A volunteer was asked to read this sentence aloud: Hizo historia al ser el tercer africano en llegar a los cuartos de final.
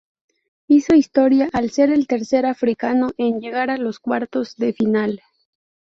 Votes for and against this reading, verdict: 0, 2, rejected